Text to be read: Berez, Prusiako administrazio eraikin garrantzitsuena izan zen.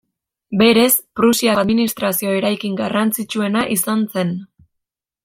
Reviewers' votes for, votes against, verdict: 0, 2, rejected